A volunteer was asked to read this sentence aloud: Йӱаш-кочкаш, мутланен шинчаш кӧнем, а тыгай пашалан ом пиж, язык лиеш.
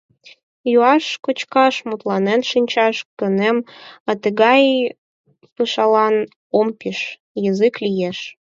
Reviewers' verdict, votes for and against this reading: rejected, 4, 12